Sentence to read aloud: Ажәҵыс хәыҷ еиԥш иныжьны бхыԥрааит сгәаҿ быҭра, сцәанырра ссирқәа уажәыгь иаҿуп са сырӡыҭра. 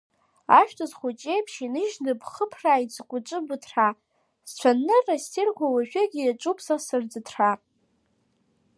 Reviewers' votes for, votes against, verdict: 2, 1, accepted